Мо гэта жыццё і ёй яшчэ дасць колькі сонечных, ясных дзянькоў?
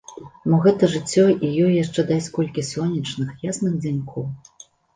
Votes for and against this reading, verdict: 2, 0, accepted